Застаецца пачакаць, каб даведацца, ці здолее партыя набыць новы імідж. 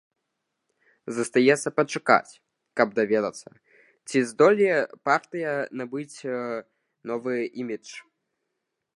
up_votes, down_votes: 1, 2